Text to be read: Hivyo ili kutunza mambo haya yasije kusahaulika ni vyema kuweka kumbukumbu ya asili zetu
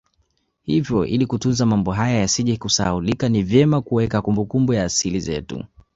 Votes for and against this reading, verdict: 2, 0, accepted